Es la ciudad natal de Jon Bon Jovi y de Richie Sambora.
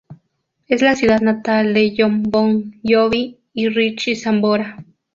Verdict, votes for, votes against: rejected, 0, 2